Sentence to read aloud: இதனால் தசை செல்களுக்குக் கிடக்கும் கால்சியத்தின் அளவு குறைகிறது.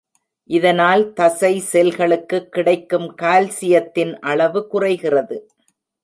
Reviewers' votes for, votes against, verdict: 2, 0, accepted